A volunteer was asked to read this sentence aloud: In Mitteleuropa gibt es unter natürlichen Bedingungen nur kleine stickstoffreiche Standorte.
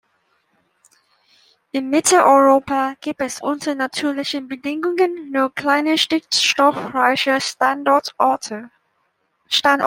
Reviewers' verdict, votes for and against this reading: rejected, 0, 2